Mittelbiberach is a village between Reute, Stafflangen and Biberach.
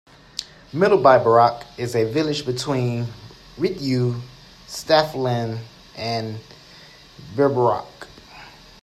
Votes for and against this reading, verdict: 0, 2, rejected